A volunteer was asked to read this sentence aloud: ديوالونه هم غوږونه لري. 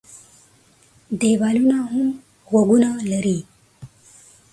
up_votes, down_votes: 0, 2